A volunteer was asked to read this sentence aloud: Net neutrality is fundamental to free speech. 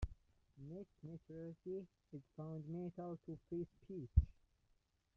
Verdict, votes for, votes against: rejected, 0, 2